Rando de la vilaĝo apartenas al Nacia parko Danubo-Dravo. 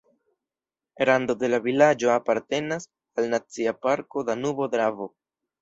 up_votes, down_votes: 1, 2